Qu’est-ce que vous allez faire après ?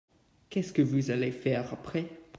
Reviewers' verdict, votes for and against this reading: accepted, 2, 0